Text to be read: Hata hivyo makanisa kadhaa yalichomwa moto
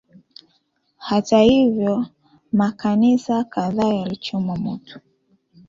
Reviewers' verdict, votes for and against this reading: accepted, 2, 1